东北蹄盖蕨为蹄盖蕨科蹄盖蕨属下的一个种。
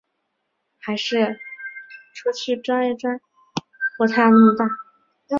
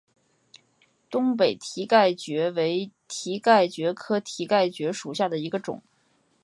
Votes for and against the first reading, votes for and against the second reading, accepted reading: 2, 5, 2, 0, second